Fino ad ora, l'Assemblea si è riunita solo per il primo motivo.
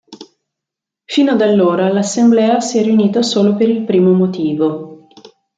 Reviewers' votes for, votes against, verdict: 1, 2, rejected